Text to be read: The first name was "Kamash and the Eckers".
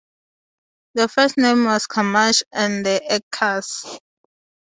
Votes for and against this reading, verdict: 4, 0, accepted